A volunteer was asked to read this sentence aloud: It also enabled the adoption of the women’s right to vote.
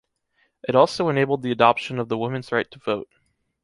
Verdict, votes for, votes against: accepted, 2, 0